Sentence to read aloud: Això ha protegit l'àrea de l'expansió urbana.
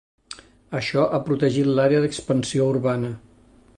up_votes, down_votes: 1, 2